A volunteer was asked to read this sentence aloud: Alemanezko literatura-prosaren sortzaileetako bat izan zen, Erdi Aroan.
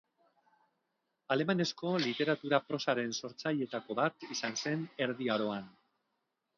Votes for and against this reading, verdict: 2, 0, accepted